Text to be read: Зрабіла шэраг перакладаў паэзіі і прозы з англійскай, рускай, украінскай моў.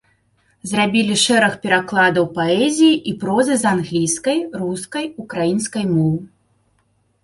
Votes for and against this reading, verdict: 1, 2, rejected